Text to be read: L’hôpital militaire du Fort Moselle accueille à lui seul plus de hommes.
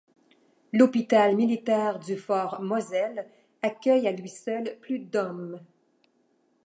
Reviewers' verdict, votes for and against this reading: rejected, 1, 2